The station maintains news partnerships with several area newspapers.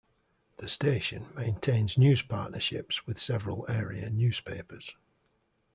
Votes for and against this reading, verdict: 2, 0, accepted